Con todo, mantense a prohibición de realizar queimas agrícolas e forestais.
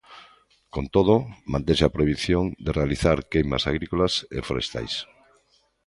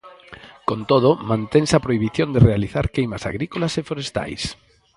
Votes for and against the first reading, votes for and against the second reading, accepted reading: 2, 0, 0, 4, first